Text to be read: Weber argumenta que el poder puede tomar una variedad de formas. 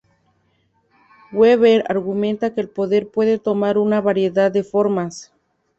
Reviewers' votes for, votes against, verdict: 2, 0, accepted